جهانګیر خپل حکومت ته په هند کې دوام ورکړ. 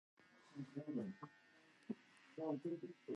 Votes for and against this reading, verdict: 1, 2, rejected